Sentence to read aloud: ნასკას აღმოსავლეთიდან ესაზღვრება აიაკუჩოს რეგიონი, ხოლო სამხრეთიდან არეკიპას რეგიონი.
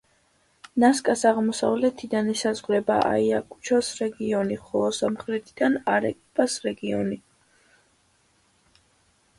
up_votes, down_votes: 2, 0